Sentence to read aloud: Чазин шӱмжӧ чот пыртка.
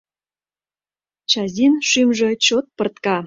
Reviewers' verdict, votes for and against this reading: accepted, 2, 0